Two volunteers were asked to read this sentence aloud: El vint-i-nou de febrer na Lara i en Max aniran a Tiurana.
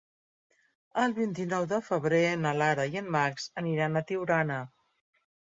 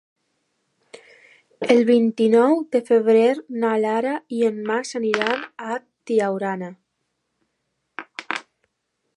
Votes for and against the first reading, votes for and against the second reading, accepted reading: 3, 0, 0, 2, first